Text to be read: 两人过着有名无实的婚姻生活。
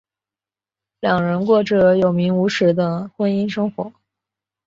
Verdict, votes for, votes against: accepted, 3, 0